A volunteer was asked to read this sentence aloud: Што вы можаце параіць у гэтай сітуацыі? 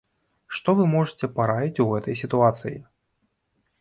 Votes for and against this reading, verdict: 2, 0, accepted